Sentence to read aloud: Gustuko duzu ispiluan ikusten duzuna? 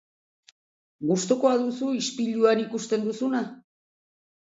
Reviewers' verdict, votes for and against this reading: rejected, 0, 2